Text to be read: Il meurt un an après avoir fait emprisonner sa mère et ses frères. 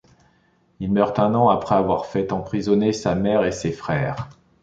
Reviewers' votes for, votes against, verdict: 0, 2, rejected